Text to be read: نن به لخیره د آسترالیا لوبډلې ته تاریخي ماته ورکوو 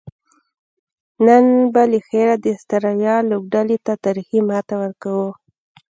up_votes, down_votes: 2, 0